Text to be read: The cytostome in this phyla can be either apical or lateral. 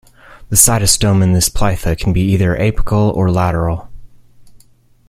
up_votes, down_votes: 1, 2